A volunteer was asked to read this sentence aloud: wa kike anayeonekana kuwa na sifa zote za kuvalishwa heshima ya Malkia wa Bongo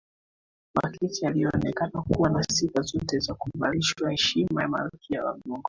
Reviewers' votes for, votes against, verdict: 0, 2, rejected